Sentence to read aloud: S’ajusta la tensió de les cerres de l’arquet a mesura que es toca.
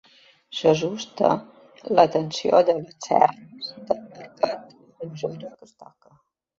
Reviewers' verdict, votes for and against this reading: rejected, 0, 2